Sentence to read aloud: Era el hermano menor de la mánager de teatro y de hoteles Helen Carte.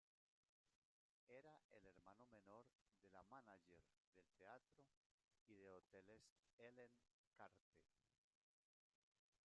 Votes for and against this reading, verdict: 0, 2, rejected